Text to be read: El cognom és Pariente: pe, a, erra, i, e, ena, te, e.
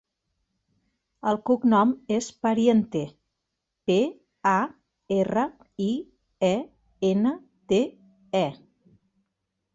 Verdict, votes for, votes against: accepted, 2, 0